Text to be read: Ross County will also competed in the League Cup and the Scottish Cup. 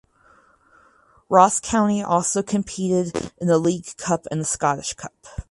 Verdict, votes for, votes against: rejected, 0, 2